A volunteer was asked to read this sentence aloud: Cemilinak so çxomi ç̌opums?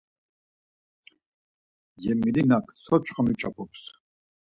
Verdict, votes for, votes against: accepted, 4, 0